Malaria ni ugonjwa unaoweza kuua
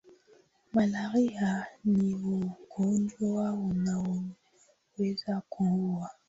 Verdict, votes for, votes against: accepted, 2, 0